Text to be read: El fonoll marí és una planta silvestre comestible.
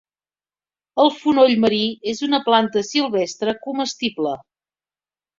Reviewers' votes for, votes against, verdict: 3, 0, accepted